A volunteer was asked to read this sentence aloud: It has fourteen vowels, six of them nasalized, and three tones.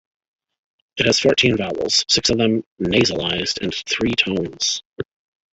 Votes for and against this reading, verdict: 2, 1, accepted